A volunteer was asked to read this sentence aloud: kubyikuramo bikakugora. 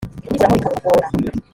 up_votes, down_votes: 0, 2